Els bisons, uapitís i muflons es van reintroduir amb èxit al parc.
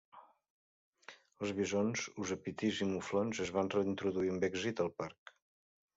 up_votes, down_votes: 1, 2